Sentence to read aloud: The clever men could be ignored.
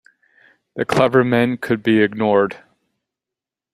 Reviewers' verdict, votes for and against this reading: accepted, 3, 1